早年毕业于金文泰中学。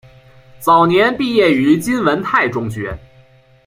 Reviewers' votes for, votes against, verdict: 0, 2, rejected